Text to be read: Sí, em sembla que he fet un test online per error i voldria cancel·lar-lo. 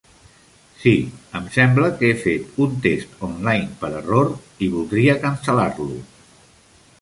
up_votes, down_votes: 3, 0